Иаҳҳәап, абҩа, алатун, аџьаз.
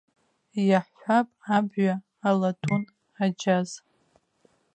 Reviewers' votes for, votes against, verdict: 1, 2, rejected